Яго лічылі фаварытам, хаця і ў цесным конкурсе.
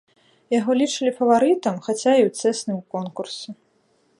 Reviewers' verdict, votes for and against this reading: rejected, 1, 2